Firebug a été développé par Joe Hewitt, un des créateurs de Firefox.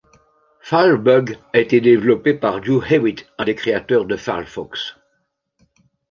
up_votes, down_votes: 1, 2